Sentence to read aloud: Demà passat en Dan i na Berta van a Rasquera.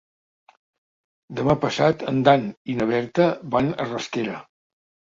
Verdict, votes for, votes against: accepted, 3, 0